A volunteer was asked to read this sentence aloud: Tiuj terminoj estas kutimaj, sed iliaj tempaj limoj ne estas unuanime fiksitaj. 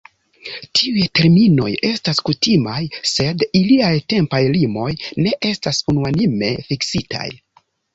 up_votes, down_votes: 2, 0